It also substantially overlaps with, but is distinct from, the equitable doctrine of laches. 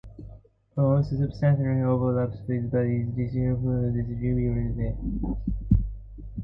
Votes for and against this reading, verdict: 0, 2, rejected